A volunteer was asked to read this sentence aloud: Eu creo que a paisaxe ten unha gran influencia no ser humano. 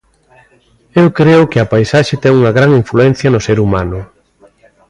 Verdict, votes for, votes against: rejected, 1, 2